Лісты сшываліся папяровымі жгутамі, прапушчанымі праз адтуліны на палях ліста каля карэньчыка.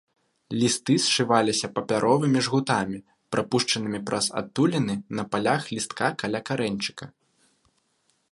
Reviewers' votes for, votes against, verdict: 1, 2, rejected